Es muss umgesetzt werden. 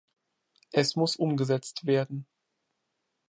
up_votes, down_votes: 2, 0